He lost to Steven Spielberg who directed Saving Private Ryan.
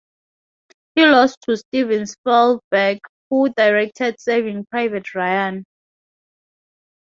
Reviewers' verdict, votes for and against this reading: accepted, 4, 0